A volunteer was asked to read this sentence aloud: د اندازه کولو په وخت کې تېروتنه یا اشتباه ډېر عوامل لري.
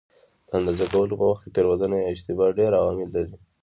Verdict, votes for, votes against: accepted, 2, 0